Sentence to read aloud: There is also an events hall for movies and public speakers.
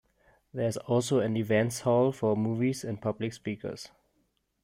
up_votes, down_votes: 2, 0